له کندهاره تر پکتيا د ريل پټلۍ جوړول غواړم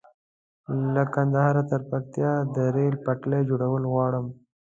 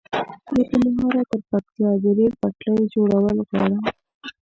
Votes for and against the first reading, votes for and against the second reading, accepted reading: 0, 2, 2, 0, second